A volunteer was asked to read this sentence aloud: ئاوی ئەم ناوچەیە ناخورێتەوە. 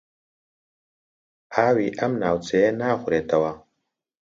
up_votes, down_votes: 2, 0